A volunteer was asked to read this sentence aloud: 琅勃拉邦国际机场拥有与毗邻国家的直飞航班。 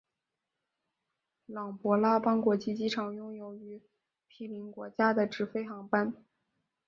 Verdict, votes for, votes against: rejected, 2, 3